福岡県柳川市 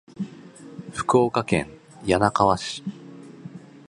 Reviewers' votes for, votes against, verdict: 2, 0, accepted